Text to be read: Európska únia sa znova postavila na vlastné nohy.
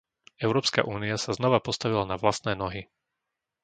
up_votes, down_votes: 2, 0